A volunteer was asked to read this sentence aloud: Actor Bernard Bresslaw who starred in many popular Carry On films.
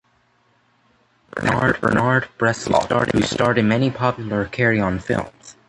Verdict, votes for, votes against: rejected, 0, 2